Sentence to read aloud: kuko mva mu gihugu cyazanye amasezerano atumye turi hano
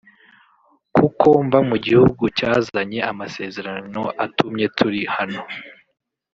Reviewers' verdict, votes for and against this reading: rejected, 1, 2